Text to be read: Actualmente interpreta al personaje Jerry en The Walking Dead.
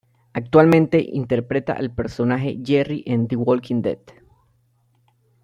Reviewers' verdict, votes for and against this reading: accepted, 2, 0